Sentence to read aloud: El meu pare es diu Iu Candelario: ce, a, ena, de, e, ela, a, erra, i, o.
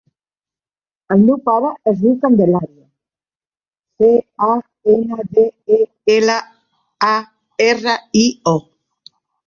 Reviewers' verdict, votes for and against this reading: rejected, 0, 4